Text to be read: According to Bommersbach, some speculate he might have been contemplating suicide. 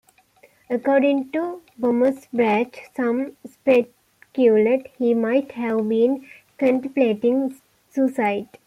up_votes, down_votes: 2, 1